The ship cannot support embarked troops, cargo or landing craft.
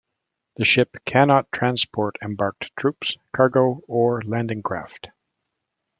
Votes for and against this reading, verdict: 1, 2, rejected